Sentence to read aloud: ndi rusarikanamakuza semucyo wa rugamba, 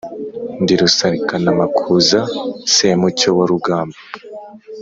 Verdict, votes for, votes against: accepted, 2, 0